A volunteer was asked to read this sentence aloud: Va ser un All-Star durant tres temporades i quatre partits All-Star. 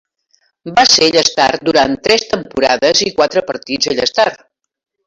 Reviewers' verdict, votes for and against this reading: rejected, 0, 8